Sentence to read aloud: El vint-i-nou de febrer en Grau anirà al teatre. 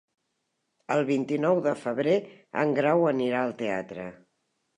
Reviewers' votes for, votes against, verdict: 3, 0, accepted